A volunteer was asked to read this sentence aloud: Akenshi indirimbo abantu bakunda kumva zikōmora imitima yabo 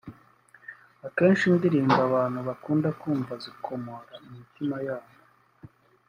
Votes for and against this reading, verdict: 1, 2, rejected